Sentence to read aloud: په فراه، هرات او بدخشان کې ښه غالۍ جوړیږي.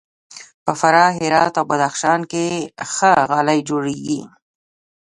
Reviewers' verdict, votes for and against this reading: rejected, 0, 2